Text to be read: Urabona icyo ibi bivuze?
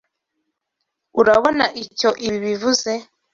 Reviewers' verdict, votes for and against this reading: accepted, 2, 0